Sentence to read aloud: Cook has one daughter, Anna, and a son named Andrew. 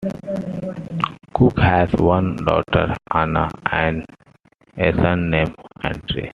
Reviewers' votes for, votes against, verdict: 0, 2, rejected